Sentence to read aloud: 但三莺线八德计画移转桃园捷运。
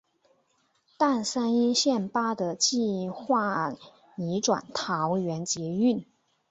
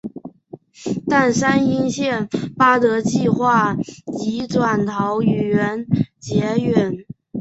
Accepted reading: first